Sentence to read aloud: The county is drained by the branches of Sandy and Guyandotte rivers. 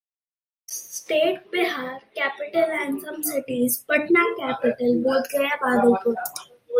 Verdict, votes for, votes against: rejected, 0, 2